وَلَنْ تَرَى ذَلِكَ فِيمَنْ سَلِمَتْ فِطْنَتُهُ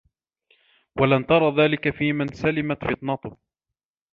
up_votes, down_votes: 2, 0